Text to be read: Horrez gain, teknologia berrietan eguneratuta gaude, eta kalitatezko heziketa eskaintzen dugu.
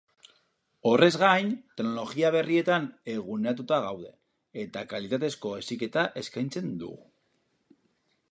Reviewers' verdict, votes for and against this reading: rejected, 2, 4